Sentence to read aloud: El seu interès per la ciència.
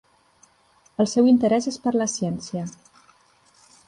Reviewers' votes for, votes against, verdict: 0, 2, rejected